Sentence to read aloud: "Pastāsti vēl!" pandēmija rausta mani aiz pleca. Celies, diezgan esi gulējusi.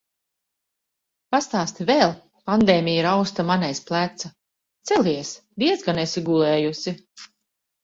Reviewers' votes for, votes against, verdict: 2, 1, accepted